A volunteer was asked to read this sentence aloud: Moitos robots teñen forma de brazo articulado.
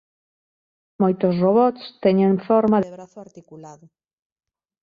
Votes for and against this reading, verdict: 1, 2, rejected